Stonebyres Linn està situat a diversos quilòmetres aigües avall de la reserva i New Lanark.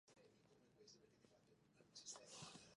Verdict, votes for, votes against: rejected, 0, 2